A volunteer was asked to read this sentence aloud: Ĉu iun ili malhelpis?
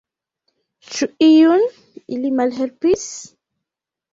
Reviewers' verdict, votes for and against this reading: accepted, 2, 1